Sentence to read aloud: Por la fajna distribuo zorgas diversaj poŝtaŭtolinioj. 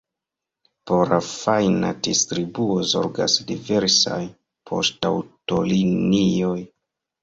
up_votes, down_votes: 2, 1